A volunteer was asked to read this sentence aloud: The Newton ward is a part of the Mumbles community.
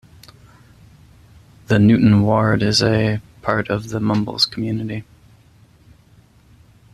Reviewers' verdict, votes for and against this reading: accepted, 2, 0